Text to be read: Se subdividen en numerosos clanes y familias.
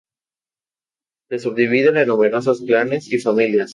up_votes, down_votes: 2, 0